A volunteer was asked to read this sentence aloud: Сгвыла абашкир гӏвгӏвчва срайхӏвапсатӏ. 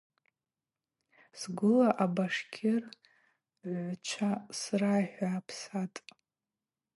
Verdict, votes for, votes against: accepted, 4, 0